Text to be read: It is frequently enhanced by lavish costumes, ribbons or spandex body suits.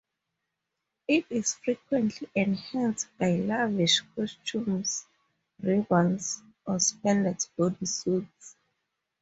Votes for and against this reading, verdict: 2, 2, rejected